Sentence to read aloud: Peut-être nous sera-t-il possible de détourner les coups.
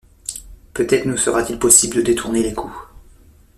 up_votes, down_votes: 2, 0